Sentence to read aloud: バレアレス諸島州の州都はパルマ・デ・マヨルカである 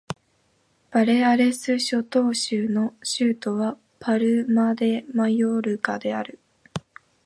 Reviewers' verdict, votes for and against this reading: accepted, 2, 0